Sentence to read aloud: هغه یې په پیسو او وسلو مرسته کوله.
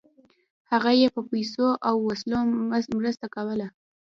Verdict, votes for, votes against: rejected, 1, 2